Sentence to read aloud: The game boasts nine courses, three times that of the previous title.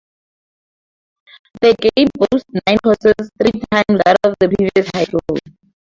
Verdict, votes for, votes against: rejected, 2, 2